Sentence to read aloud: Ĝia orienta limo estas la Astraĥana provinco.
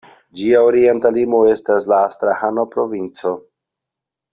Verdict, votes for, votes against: rejected, 0, 2